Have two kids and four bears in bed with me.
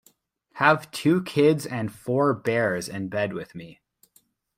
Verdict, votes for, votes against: accepted, 2, 0